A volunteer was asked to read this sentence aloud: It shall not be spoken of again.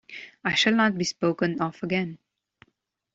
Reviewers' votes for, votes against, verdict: 0, 2, rejected